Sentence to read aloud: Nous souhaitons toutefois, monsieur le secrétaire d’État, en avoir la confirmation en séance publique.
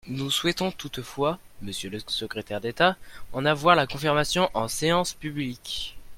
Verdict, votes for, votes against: rejected, 0, 2